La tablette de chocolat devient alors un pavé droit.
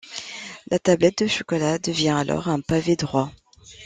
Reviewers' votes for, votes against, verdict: 2, 0, accepted